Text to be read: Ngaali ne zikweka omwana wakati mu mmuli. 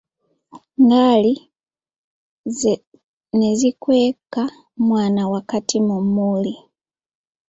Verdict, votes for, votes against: accepted, 3, 0